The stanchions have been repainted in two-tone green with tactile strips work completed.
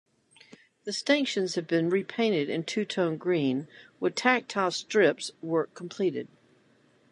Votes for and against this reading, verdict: 2, 0, accepted